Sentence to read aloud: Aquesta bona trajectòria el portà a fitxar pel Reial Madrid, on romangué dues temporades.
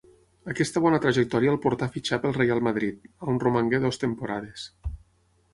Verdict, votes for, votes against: rejected, 3, 9